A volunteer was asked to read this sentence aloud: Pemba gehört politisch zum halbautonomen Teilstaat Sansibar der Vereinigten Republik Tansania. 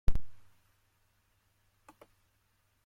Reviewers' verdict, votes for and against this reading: rejected, 0, 2